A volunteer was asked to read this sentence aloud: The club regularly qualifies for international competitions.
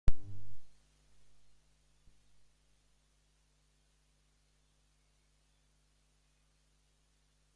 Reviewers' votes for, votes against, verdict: 0, 2, rejected